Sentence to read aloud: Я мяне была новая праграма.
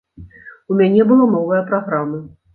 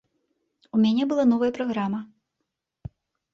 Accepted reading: second